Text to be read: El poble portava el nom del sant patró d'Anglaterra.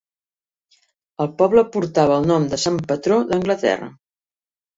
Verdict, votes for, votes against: rejected, 1, 2